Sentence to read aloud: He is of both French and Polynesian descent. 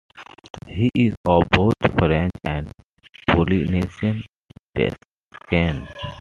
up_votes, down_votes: 0, 2